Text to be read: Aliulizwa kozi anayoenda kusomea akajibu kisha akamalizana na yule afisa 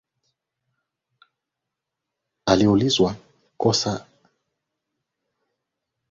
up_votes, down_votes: 0, 2